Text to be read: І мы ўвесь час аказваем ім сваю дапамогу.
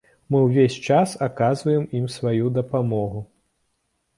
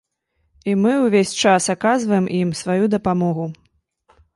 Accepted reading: second